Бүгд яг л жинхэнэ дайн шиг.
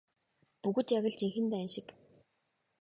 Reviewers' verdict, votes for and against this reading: accepted, 2, 0